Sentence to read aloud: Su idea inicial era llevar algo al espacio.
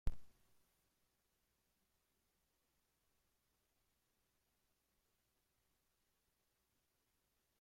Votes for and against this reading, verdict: 0, 3, rejected